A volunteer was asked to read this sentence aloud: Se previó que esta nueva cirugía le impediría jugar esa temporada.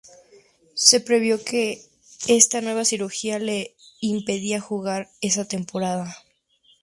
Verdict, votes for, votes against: rejected, 2, 2